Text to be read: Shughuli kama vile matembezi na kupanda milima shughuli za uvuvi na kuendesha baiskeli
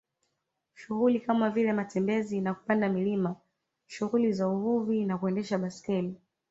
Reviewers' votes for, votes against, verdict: 2, 0, accepted